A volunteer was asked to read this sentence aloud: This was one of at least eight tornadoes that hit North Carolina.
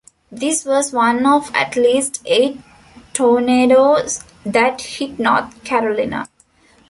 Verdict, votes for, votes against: rejected, 0, 2